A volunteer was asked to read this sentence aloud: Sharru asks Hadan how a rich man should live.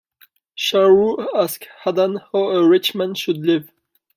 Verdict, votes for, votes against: rejected, 1, 2